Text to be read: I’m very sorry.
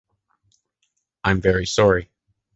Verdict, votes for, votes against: accepted, 2, 0